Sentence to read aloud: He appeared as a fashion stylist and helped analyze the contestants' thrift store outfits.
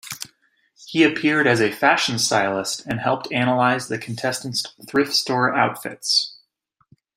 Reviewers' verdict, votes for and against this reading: accepted, 2, 0